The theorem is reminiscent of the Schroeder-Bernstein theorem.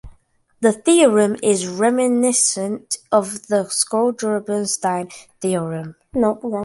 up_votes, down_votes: 0, 2